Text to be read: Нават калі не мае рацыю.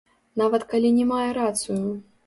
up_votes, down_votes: 0, 2